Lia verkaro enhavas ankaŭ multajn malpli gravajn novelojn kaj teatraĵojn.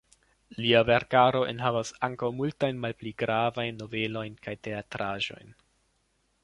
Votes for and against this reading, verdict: 2, 1, accepted